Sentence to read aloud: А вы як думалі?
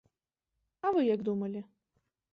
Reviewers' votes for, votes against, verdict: 2, 0, accepted